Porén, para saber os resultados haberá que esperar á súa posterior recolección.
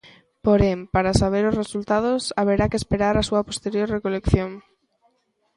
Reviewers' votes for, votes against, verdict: 2, 0, accepted